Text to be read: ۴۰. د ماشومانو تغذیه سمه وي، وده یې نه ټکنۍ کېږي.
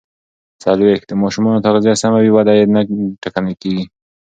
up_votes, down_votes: 0, 2